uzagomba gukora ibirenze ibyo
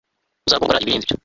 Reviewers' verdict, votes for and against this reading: rejected, 0, 2